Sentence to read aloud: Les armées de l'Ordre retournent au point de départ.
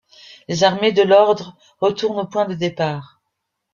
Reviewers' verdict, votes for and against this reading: accepted, 2, 0